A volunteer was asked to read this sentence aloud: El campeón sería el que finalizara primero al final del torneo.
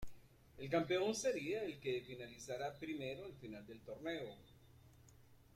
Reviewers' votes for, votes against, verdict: 1, 2, rejected